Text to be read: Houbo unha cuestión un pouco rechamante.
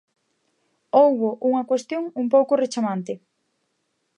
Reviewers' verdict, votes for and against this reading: accepted, 2, 0